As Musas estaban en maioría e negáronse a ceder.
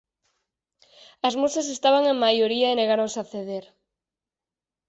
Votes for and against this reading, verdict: 4, 0, accepted